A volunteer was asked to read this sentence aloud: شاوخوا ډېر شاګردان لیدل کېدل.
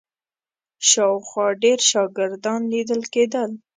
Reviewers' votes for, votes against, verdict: 2, 0, accepted